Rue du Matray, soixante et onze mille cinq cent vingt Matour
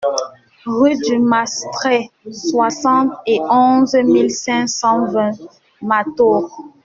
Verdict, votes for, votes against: rejected, 1, 2